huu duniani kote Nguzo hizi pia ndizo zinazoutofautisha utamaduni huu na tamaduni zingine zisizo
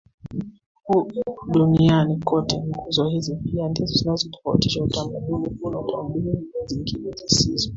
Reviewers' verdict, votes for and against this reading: accepted, 2, 1